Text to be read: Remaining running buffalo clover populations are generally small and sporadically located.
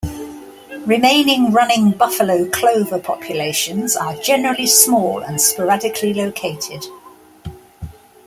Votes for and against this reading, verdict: 3, 0, accepted